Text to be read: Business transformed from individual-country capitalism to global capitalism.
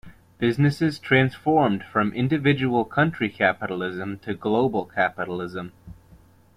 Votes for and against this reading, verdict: 1, 2, rejected